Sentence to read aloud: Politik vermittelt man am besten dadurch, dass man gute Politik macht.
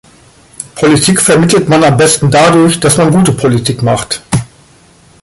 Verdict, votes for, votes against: accepted, 2, 0